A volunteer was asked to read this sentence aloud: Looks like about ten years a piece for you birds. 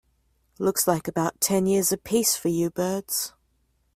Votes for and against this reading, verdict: 2, 1, accepted